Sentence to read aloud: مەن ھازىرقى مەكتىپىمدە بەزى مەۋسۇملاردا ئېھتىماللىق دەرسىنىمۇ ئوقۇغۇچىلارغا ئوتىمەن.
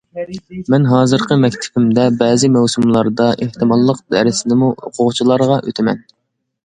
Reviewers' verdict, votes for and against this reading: accepted, 2, 0